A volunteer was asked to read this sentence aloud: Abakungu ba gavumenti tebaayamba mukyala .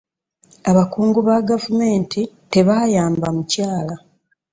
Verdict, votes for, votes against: accepted, 2, 0